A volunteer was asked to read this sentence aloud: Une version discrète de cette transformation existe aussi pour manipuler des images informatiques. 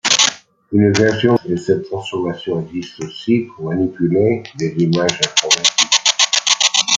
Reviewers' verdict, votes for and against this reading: rejected, 0, 2